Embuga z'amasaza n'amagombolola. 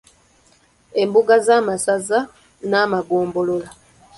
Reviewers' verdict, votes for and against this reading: accepted, 2, 0